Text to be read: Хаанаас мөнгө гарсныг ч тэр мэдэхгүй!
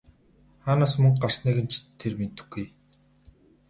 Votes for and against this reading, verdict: 2, 2, rejected